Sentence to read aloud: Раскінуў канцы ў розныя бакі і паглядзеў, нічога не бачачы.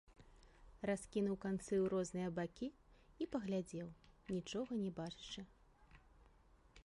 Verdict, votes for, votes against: rejected, 1, 2